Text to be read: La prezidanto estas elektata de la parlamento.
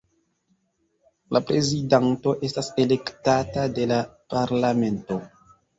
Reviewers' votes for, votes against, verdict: 1, 2, rejected